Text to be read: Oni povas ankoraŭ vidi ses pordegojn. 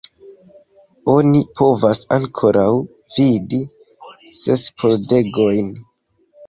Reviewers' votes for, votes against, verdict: 1, 2, rejected